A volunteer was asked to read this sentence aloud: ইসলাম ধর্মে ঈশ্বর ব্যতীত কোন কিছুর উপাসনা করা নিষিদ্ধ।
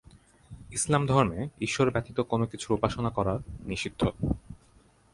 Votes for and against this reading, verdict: 6, 0, accepted